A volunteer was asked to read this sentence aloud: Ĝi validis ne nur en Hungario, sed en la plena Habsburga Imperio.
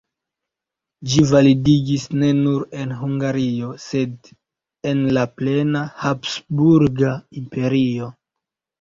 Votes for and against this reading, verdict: 1, 2, rejected